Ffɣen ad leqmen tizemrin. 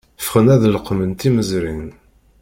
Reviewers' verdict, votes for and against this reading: rejected, 1, 2